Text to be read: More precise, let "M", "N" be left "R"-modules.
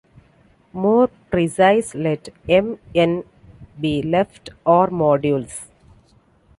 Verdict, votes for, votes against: accepted, 3, 1